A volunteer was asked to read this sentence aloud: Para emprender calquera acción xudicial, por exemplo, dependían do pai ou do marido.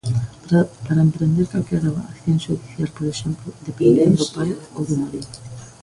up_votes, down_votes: 0, 2